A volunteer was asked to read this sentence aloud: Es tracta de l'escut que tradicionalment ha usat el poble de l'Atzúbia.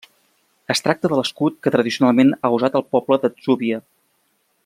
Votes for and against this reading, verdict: 1, 2, rejected